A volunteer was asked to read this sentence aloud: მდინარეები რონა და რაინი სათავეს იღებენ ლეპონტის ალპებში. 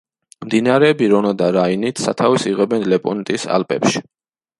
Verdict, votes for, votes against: rejected, 1, 2